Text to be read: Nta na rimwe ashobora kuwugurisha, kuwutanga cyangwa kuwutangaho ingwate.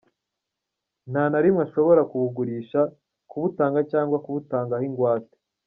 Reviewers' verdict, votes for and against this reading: accepted, 2, 1